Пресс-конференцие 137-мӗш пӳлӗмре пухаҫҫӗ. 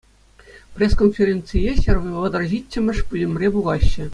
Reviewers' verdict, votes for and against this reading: rejected, 0, 2